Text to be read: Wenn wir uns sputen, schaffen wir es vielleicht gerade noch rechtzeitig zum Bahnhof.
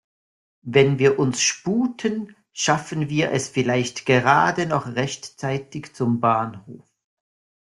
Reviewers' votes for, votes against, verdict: 1, 2, rejected